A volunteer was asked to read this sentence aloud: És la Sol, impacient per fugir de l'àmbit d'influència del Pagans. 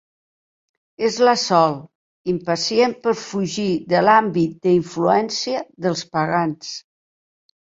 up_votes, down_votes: 1, 2